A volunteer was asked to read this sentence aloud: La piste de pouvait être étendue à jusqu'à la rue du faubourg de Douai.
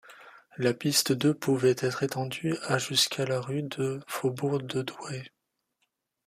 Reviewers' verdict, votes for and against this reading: rejected, 0, 2